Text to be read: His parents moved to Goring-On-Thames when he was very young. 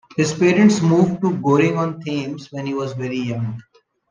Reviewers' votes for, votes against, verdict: 0, 2, rejected